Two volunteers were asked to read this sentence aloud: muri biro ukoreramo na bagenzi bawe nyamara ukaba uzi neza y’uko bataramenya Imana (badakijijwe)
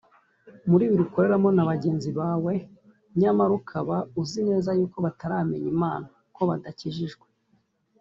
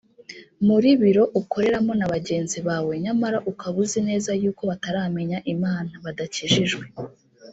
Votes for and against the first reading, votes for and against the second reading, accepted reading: 0, 2, 2, 0, second